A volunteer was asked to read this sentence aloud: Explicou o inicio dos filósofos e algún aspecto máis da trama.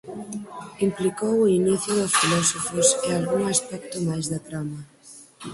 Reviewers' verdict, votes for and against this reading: rejected, 0, 4